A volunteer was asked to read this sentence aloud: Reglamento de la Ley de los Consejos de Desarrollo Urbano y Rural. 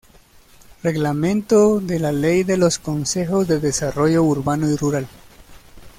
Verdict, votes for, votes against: accepted, 2, 1